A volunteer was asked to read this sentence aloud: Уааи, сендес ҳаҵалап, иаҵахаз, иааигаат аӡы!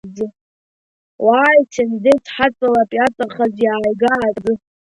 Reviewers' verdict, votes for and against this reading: rejected, 1, 2